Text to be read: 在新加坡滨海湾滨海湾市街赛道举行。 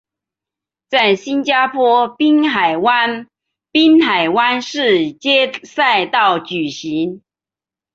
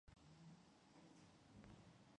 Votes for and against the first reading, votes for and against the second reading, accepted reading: 3, 1, 1, 3, first